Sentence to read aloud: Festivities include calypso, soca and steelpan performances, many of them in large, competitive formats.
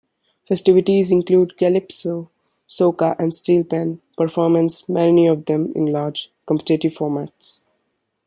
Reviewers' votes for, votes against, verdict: 2, 1, accepted